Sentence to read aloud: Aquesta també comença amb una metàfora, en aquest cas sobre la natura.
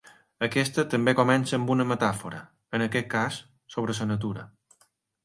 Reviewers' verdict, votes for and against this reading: accepted, 4, 1